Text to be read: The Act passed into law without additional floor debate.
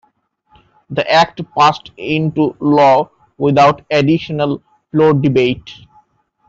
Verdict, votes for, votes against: accepted, 2, 1